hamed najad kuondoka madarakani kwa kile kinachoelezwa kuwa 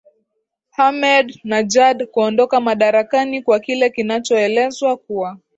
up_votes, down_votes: 2, 1